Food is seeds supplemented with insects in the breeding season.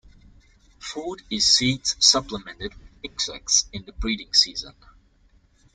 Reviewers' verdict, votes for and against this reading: rejected, 1, 2